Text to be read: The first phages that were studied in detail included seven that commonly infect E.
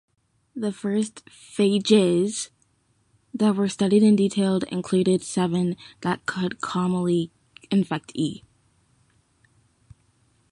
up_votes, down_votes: 1, 2